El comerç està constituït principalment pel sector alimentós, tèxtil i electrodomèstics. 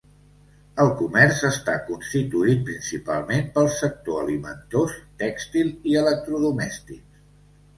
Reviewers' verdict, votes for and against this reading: accepted, 2, 0